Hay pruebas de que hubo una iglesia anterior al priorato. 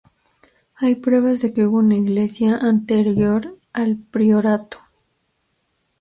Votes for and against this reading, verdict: 2, 0, accepted